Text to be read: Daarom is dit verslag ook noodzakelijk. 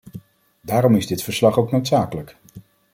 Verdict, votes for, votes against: accepted, 2, 0